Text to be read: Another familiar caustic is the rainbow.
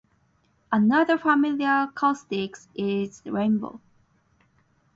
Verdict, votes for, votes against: rejected, 0, 4